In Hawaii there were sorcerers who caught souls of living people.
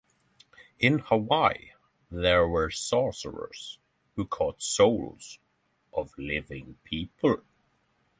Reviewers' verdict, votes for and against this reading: accepted, 6, 0